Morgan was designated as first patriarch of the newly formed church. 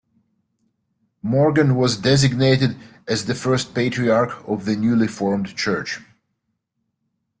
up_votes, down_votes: 1, 2